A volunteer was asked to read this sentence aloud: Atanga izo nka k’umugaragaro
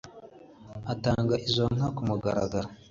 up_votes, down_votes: 2, 0